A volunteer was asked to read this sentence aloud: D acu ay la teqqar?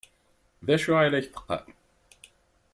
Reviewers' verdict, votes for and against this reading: accepted, 4, 0